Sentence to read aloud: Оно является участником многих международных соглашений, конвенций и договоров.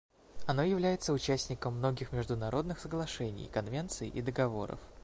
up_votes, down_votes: 2, 0